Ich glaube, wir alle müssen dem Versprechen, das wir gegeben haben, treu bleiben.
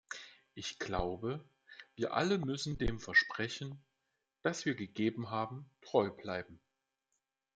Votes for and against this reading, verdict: 2, 0, accepted